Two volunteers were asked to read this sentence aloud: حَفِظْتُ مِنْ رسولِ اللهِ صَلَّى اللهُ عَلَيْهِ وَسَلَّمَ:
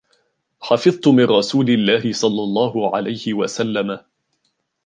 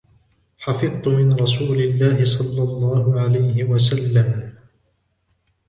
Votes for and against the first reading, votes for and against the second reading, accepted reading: 2, 0, 1, 2, first